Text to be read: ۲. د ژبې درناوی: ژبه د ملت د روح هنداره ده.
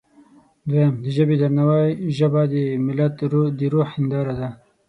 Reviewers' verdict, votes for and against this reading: rejected, 0, 2